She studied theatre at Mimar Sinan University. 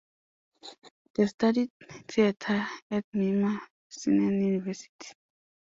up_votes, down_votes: 0, 2